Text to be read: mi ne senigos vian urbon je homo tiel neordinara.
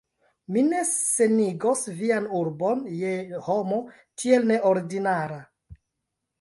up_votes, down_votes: 1, 2